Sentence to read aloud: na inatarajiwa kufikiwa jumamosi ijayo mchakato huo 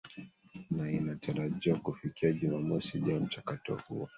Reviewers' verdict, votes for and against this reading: rejected, 1, 2